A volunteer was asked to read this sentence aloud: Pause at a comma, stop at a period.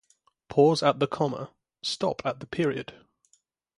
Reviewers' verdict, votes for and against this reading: rejected, 3, 3